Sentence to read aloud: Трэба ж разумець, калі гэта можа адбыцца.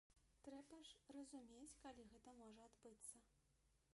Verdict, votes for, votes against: rejected, 0, 2